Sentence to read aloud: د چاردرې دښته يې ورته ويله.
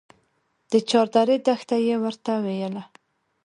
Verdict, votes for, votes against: accepted, 2, 0